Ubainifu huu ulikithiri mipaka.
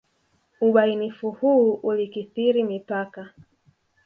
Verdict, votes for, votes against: rejected, 0, 2